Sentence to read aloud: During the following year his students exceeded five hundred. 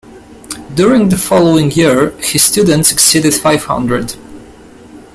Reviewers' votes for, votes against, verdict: 2, 0, accepted